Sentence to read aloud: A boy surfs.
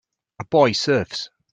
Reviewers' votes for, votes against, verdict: 4, 0, accepted